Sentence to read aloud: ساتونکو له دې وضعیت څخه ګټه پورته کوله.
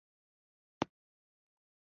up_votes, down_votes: 0, 2